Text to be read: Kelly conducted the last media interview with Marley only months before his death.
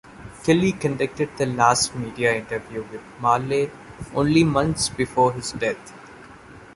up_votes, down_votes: 0, 2